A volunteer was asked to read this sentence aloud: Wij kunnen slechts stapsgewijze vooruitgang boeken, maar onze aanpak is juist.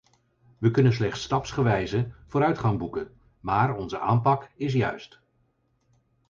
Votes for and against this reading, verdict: 2, 4, rejected